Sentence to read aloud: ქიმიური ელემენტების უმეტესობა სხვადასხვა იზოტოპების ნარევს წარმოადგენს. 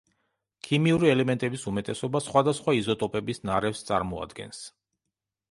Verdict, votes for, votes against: accepted, 2, 0